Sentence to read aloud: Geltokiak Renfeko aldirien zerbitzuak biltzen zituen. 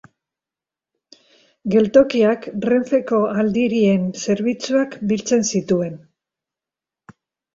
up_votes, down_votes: 2, 0